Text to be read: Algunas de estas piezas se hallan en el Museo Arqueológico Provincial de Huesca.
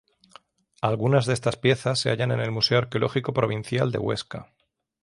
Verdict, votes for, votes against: accepted, 3, 0